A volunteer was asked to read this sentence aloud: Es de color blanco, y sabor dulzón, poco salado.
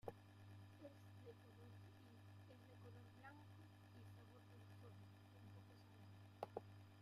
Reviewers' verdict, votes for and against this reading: rejected, 0, 2